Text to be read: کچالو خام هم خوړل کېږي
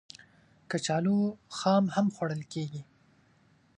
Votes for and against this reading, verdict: 2, 0, accepted